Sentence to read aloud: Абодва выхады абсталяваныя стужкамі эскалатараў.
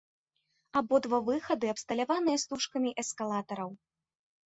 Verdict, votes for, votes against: accepted, 2, 0